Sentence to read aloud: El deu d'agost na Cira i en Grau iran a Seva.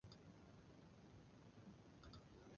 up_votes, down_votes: 0, 2